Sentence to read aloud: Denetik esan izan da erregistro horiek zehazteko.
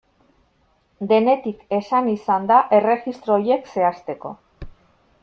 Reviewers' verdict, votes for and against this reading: accepted, 2, 1